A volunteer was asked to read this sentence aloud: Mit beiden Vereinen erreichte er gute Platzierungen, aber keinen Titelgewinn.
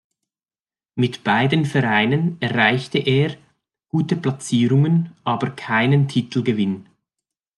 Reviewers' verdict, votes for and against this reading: accepted, 2, 0